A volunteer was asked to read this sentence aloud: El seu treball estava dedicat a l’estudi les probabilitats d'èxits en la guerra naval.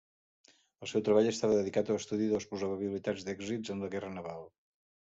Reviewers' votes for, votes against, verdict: 0, 2, rejected